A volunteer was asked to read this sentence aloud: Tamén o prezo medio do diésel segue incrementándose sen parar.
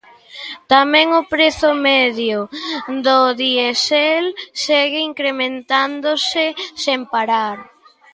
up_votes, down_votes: 1, 2